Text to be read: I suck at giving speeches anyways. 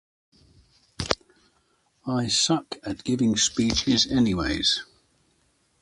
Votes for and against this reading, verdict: 2, 0, accepted